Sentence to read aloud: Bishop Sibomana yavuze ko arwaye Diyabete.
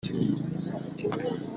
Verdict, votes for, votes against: rejected, 0, 2